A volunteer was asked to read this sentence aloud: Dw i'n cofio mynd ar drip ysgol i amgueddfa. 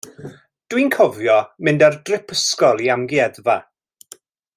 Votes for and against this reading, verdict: 2, 0, accepted